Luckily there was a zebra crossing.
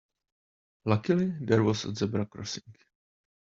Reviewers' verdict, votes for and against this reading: accepted, 2, 0